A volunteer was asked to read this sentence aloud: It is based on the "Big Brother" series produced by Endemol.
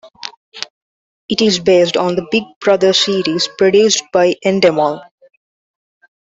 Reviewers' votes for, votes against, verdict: 0, 2, rejected